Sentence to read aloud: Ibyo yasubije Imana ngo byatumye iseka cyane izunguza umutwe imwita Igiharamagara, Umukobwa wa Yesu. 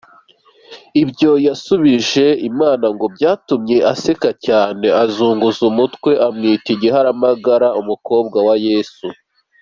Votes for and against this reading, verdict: 2, 1, accepted